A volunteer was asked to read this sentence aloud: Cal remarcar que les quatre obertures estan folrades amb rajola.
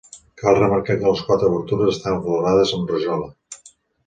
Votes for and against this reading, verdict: 0, 2, rejected